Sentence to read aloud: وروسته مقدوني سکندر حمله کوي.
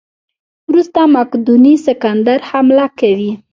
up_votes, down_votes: 0, 2